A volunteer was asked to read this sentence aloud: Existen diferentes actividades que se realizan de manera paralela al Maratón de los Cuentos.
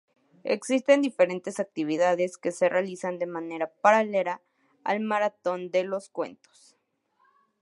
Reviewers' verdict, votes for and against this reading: accepted, 4, 0